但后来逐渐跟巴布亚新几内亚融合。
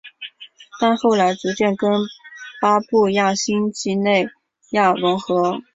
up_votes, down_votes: 7, 0